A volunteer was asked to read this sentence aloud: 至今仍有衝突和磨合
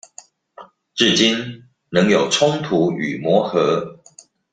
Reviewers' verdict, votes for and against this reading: rejected, 1, 2